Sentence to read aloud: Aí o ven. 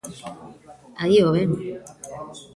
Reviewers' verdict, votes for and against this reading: rejected, 1, 2